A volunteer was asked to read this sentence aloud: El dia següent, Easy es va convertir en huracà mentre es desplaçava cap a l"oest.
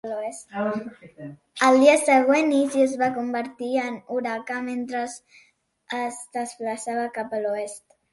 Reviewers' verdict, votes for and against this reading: rejected, 1, 2